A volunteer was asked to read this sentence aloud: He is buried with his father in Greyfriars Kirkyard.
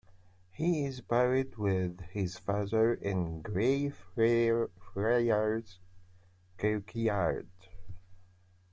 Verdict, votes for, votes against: rejected, 0, 2